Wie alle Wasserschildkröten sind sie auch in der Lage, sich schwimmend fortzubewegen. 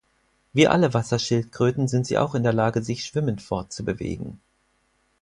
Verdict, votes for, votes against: accepted, 4, 0